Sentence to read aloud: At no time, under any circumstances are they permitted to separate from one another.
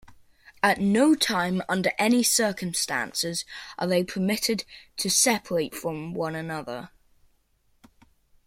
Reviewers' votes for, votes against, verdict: 2, 0, accepted